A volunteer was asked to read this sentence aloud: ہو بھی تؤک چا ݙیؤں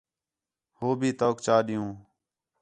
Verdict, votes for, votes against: accepted, 4, 0